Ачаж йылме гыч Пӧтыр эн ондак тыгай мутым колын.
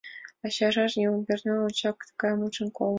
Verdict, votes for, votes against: rejected, 2, 5